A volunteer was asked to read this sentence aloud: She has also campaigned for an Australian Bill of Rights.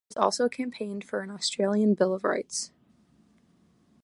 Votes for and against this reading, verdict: 0, 2, rejected